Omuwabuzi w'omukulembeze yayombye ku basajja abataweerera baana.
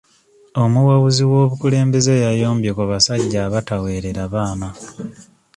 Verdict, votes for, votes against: accepted, 2, 0